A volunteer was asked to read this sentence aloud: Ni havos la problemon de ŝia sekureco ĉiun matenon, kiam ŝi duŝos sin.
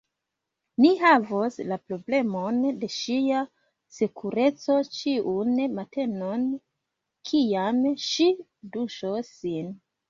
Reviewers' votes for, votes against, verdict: 2, 1, accepted